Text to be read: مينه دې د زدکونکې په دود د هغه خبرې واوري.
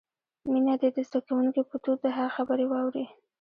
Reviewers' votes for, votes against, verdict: 1, 2, rejected